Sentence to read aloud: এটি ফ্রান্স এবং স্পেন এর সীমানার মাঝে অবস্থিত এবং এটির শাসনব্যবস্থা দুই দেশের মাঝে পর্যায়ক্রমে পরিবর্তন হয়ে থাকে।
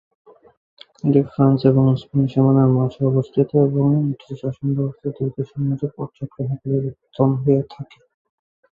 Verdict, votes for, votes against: rejected, 0, 2